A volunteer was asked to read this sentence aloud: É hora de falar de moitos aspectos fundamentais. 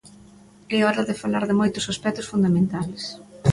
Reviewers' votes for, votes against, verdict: 0, 2, rejected